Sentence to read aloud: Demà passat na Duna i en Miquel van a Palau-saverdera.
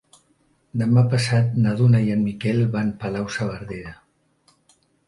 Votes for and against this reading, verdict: 1, 2, rejected